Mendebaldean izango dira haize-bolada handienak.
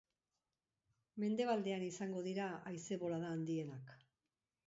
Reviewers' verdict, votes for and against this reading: accepted, 2, 0